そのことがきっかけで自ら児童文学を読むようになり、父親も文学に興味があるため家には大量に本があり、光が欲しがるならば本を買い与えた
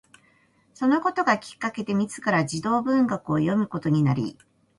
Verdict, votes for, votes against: rejected, 1, 2